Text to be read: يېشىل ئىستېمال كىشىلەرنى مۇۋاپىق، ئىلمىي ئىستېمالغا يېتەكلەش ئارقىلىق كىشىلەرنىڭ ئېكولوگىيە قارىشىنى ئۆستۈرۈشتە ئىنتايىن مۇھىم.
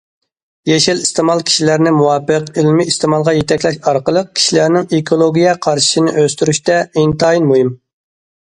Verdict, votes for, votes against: accepted, 2, 0